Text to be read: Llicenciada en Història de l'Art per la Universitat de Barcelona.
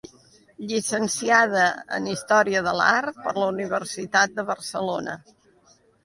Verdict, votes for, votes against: accepted, 2, 0